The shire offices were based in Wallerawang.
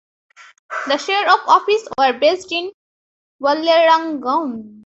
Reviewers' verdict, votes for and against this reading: rejected, 1, 2